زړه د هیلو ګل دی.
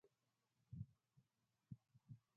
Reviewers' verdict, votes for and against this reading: rejected, 1, 2